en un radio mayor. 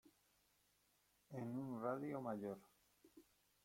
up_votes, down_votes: 1, 2